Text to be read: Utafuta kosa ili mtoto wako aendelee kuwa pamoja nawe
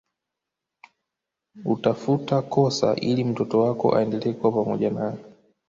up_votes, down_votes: 1, 2